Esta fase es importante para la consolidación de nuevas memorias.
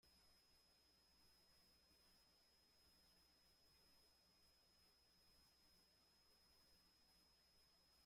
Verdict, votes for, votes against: rejected, 0, 2